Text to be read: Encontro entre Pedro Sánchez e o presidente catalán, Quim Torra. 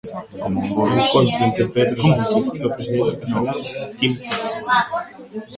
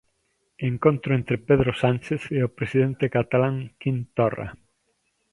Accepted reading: second